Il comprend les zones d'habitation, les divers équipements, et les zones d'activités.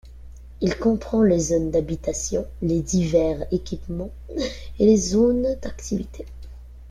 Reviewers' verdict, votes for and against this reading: accepted, 2, 1